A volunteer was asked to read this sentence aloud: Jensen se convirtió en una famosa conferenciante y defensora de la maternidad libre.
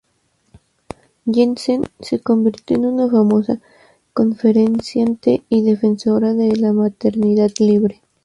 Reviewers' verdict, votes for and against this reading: rejected, 0, 2